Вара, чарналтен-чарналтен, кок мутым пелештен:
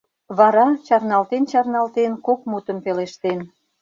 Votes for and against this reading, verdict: 2, 0, accepted